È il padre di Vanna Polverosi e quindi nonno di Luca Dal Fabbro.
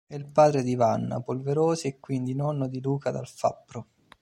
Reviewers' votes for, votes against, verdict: 1, 2, rejected